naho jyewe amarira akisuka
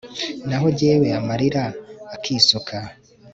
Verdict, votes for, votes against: accepted, 2, 0